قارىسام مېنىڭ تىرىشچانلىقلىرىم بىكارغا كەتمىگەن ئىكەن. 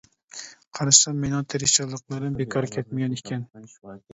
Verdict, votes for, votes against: rejected, 1, 2